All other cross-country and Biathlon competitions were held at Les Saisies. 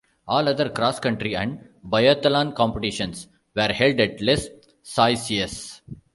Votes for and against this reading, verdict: 1, 2, rejected